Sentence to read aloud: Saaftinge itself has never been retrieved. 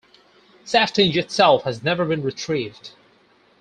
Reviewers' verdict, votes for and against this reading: accepted, 4, 0